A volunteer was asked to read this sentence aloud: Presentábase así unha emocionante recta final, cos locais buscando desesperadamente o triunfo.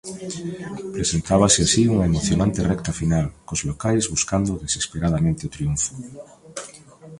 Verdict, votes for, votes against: accepted, 2, 0